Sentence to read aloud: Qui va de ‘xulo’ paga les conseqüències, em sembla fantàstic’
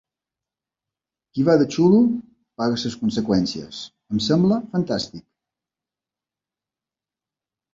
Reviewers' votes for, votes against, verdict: 1, 2, rejected